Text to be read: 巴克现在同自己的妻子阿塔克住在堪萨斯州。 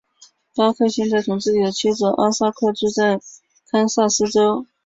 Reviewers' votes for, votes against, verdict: 3, 1, accepted